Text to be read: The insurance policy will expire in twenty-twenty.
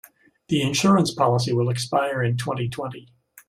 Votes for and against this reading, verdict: 2, 0, accepted